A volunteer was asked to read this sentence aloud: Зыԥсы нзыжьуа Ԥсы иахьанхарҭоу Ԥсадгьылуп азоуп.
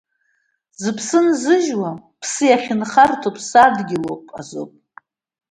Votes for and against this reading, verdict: 2, 1, accepted